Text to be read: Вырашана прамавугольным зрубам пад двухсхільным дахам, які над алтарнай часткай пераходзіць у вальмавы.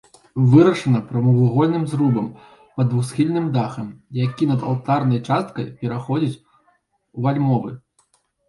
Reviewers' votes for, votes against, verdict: 0, 2, rejected